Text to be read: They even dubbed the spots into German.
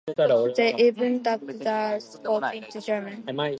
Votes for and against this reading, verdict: 0, 4, rejected